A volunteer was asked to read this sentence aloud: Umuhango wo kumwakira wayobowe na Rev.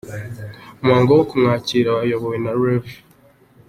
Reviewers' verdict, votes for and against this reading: accepted, 2, 0